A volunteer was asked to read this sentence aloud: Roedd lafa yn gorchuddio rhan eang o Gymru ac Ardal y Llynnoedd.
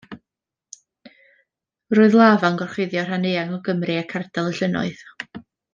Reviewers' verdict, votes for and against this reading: accepted, 2, 0